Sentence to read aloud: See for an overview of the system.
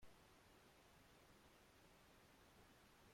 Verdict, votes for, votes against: rejected, 0, 2